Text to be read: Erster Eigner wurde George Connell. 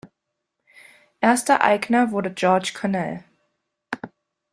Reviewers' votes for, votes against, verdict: 2, 0, accepted